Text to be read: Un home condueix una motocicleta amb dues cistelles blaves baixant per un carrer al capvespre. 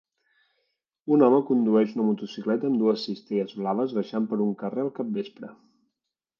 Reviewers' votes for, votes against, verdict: 3, 1, accepted